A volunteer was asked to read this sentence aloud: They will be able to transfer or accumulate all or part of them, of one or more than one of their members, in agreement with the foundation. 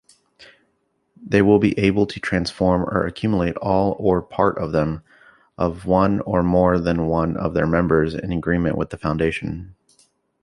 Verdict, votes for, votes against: rejected, 1, 2